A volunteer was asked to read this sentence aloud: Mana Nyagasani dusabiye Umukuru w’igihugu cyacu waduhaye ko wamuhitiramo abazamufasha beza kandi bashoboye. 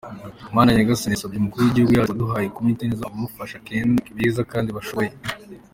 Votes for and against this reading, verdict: 0, 2, rejected